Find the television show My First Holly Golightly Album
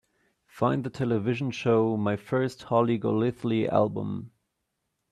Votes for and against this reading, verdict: 2, 0, accepted